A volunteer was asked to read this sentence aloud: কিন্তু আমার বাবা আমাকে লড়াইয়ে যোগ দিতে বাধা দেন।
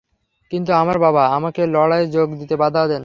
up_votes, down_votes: 3, 0